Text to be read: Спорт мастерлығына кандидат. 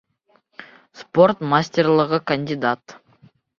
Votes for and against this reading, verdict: 0, 2, rejected